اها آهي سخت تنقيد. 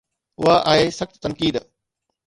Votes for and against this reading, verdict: 2, 0, accepted